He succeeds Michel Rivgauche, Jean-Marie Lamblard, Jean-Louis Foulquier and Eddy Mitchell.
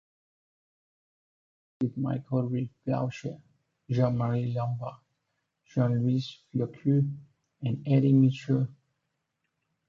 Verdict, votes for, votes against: accepted, 2, 1